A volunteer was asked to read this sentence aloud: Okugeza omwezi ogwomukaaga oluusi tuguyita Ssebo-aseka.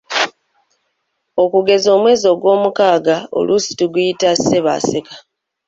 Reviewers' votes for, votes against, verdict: 2, 1, accepted